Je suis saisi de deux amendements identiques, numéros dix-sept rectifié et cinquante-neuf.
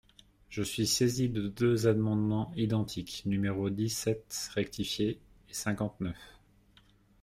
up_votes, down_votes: 0, 2